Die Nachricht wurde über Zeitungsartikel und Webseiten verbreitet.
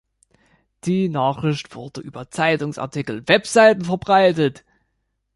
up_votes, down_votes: 0, 2